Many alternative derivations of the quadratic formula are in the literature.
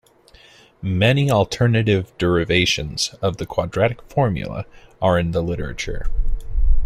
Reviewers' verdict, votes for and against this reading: accepted, 2, 0